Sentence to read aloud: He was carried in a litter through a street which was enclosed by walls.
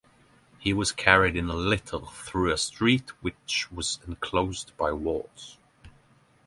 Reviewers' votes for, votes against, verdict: 9, 0, accepted